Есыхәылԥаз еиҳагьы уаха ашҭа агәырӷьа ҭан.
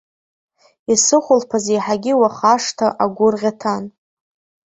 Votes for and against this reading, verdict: 1, 2, rejected